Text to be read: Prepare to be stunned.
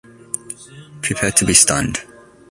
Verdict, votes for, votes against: accepted, 2, 0